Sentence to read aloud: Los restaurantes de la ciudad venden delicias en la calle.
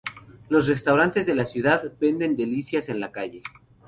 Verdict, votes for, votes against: accepted, 2, 0